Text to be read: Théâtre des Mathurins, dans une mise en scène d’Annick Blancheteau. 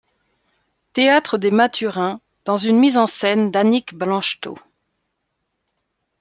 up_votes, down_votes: 2, 0